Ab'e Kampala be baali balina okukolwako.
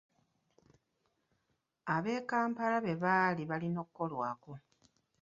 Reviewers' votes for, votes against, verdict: 2, 0, accepted